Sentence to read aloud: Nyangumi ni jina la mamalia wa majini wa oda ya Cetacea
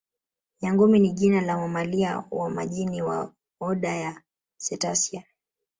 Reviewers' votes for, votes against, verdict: 3, 1, accepted